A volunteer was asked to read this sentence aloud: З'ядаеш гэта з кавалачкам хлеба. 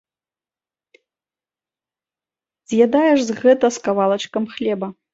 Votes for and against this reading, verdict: 0, 2, rejected